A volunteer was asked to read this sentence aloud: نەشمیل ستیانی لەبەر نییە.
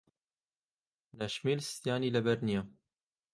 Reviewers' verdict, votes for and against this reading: accepted, 2, 0